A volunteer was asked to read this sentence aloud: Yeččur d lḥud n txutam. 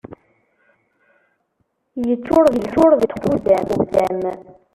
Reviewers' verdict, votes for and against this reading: rejected, 0, 2